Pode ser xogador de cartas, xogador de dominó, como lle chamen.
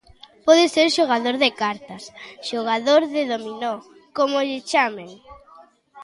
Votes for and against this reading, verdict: 2, 0, accepted